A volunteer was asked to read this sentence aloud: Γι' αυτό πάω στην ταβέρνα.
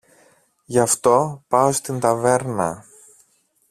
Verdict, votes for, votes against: accepted, 2, 1